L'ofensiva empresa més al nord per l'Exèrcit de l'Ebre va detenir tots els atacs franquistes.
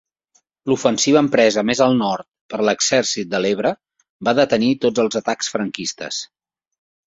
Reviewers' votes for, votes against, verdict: 3, 0, accepted